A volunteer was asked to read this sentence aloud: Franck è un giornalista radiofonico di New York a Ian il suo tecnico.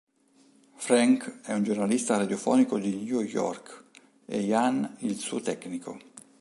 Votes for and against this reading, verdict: 1, 2, rejected